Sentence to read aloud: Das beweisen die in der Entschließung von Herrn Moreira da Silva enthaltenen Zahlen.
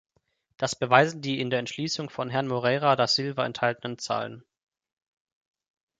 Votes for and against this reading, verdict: 2, 0, accepted